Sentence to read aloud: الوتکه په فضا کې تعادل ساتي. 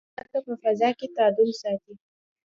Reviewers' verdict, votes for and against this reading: accepted, 2, 0